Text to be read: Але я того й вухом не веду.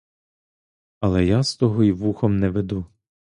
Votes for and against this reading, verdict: 0, 2, rejected